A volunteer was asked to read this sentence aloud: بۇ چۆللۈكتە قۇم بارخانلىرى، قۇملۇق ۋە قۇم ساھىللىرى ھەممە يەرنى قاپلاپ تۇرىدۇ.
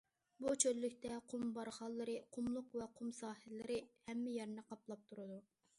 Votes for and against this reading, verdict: 2, 0, accepted